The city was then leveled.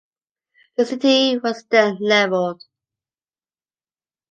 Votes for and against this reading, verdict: 2, 0, accepted